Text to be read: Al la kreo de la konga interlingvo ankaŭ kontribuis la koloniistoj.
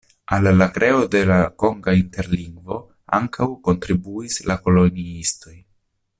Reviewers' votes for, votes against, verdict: 1, 2, rejected